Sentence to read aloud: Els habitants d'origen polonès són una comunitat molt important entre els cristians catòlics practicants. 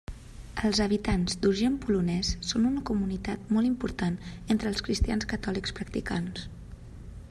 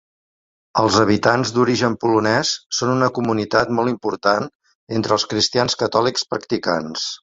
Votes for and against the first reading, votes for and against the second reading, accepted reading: 1, 2, 3, 0, second